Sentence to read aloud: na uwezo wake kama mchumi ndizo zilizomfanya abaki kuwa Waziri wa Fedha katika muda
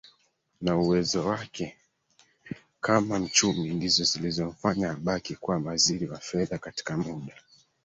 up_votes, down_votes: 1, 2